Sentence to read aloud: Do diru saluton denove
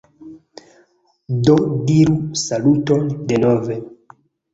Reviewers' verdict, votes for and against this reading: accepted, 2, 1